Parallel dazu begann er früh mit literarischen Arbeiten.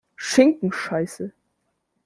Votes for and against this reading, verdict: 0, 2, rejected